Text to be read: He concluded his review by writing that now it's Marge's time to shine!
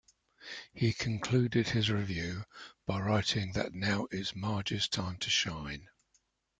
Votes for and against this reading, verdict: 2, 0, accepted